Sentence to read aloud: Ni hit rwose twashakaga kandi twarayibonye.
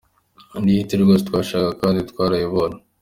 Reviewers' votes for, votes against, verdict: 2, 0, accepted